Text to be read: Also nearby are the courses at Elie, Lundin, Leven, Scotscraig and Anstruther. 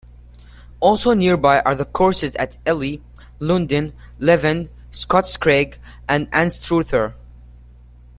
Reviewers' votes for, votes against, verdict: 2, 0, accepted